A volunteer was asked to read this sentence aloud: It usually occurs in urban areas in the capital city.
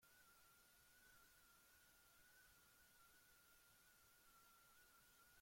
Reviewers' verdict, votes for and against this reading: rejected, 0, 2